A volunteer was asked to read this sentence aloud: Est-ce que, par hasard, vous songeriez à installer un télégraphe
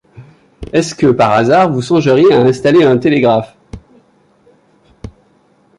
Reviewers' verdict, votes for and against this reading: accepted, 2, 0